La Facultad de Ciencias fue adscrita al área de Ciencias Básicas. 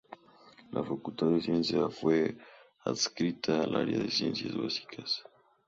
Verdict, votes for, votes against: accepted, 2, 0